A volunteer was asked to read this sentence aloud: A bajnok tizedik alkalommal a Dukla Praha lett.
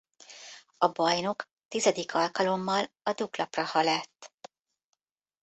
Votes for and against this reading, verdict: 1, 2, rejected